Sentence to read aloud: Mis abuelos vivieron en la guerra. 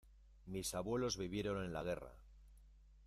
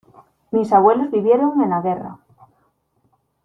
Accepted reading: second